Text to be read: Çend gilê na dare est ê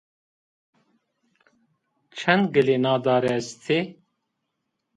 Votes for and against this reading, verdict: 2, 0, accepted